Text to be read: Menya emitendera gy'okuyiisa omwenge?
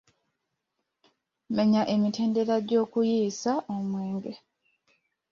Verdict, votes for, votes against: accepted, 2, 0